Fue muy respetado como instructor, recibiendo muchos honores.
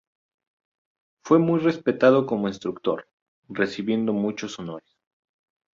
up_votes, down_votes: 2, 0